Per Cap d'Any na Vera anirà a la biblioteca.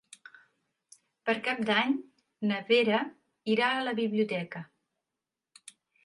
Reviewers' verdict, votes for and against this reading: rejected, 1, 2